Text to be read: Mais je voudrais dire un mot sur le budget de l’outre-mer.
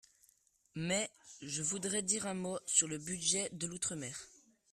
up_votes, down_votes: 3, 1